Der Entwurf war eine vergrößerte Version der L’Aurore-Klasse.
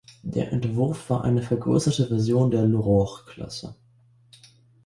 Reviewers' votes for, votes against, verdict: 1, 2, rejected